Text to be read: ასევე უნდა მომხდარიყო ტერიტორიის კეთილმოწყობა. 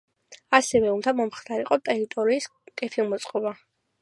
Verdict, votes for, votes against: accepted, 3, 0